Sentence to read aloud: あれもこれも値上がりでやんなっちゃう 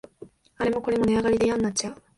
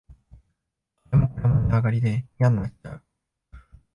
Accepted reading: first